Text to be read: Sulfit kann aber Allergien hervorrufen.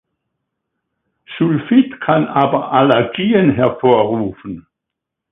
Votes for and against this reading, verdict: 2, 0, accepted